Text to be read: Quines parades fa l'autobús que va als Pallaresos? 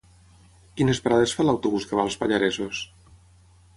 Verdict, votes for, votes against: accepted, 6, 0